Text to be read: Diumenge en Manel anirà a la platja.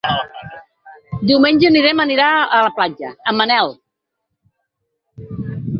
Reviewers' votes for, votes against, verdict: 0, 4, rejected